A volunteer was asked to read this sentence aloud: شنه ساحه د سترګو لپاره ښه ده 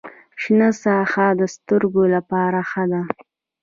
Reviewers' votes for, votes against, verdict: 2, 0, accepted